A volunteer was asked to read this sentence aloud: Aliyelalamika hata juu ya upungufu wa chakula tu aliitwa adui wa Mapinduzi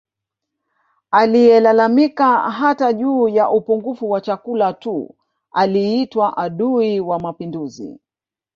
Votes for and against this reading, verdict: 1, 2, rejected